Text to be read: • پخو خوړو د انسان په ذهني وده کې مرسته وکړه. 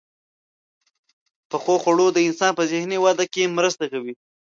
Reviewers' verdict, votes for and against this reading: rejected, 1, 2